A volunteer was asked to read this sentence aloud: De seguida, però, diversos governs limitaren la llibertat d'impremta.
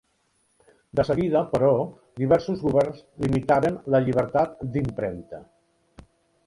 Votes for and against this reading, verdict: 2, 0, accepted